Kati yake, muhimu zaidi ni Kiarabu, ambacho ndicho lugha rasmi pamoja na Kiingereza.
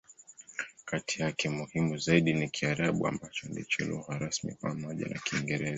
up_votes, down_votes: 11, 8